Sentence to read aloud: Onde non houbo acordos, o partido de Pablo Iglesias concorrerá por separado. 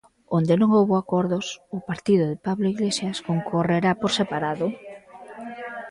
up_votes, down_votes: 1, 2